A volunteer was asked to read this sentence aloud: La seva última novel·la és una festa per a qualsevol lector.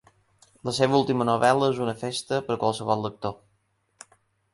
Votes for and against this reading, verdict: 2, 1, accepted